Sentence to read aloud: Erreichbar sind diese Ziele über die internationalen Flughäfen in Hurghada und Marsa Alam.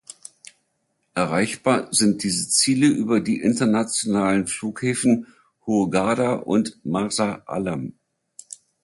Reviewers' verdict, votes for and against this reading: rejected, 0, 2